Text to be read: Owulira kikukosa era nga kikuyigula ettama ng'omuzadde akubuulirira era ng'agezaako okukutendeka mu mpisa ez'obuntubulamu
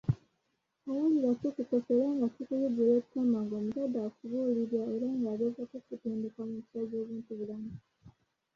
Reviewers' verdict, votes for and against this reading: rejected, 0, 2